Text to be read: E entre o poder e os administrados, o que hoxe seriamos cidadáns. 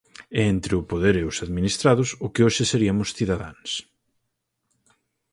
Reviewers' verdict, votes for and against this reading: rejected, 2, 4